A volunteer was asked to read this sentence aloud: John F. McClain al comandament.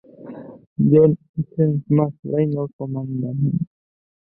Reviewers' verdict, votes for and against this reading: rejected, 1, 2